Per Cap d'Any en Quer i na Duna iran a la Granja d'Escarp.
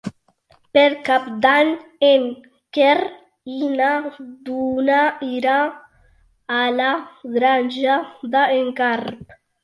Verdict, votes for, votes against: rejected, 0, 2